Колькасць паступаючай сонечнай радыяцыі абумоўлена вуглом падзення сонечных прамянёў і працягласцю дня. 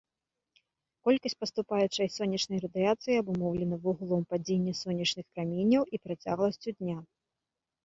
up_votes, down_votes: 0, 2